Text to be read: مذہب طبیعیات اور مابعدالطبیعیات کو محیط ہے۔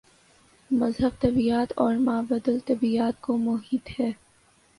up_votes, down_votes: 2, 0